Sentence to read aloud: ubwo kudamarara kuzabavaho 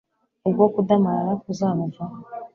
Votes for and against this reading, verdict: 2, 0, accepted